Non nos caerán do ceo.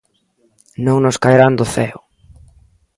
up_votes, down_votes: 2, 0